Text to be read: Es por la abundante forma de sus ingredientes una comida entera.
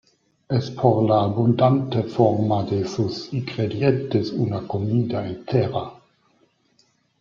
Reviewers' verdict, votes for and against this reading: accepted, 2, 0